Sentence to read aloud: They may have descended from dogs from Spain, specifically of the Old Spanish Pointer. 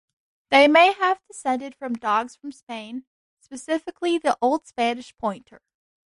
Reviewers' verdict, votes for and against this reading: rejected, 0, 2